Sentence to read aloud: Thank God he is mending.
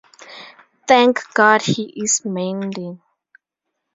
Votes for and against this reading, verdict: 0, 2, rejected